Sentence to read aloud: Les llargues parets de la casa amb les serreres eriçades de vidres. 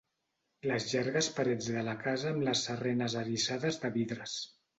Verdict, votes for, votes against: rejected, 1, 2